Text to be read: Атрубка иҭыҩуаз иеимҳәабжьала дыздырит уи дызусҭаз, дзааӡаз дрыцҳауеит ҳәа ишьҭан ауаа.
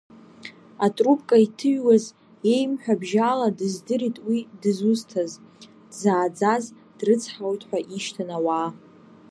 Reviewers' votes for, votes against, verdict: 1, 2, rejected